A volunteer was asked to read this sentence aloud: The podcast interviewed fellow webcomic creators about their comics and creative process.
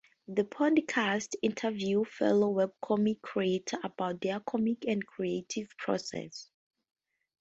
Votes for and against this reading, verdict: 2, 0, accepted